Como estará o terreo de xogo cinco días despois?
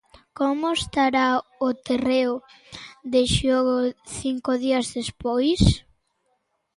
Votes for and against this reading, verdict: 2, 0, accepted